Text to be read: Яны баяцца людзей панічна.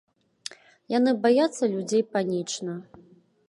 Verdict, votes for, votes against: accepted, 2, 0